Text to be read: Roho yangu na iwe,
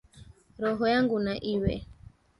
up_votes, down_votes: 1, 2